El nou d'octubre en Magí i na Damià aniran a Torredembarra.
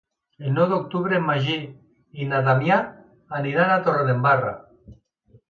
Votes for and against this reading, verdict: 2, 0, accepted